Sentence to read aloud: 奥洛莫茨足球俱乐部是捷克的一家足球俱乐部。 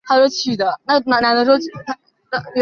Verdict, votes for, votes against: rejected, 0, 2